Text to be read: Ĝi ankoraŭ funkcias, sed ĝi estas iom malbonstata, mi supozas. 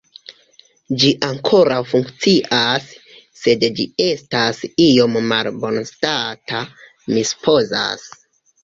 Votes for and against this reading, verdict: 1, 2, rejected